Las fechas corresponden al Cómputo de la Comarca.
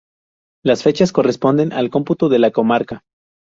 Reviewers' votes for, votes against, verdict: 2, 2, rejected